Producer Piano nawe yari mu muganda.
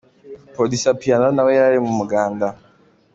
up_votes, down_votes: 2, 1